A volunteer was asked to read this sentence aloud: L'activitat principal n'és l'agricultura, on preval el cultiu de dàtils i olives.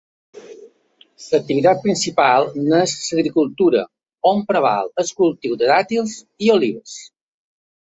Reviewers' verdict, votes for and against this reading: rejected, 1, 2